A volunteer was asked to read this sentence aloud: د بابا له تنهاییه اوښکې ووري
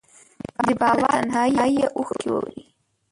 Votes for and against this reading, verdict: 0, 3, rejected